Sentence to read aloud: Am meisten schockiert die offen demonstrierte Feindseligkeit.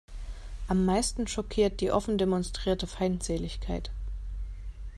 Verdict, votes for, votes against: accepted, 2, 0